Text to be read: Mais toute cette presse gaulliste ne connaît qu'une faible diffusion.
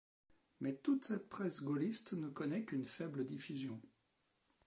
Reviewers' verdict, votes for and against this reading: rejected, 1, 2